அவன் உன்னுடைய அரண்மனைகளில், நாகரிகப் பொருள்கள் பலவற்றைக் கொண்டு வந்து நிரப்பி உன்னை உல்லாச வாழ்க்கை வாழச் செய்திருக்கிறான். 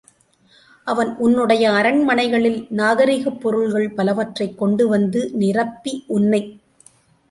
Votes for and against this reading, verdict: 0, 2, rejected